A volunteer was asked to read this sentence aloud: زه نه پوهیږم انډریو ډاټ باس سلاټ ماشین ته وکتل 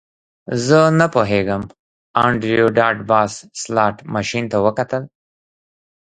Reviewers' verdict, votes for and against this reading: accepted, 2, 0